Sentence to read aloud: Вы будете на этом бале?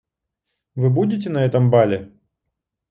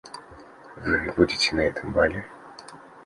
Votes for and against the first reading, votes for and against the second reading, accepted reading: 2, 0, 1, 2, first